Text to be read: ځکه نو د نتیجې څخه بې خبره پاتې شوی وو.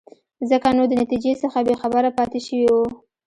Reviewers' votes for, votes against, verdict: 2, 1, accepted